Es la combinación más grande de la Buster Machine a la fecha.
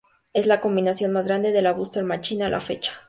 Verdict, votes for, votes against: accepted, 2, 0